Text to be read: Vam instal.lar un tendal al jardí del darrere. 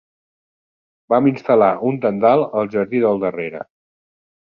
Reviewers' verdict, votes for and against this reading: accepted, 2, 0